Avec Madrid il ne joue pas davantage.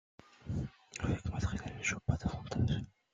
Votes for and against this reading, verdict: 1, 2, rejected